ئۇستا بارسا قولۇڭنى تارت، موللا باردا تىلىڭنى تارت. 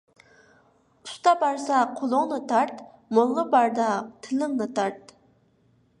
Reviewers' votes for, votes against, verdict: 2, 1, accepted